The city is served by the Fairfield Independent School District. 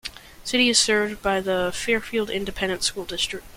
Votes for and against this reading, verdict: 2, 0, accepted